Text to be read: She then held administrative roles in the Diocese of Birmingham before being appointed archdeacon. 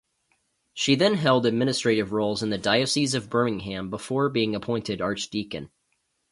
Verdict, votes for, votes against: accepted, 2, 0